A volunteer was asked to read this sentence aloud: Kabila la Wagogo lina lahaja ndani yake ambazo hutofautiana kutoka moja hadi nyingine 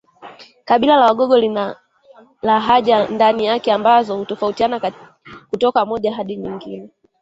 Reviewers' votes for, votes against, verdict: 0, 2, rejected